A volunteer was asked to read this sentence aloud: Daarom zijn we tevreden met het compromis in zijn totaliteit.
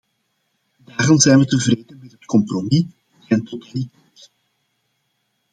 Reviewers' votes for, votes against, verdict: 0, 2, rejected